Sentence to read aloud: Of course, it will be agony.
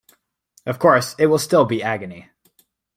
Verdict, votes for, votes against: rejected, 1, 2